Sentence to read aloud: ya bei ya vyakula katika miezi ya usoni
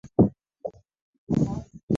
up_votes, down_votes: 0, 9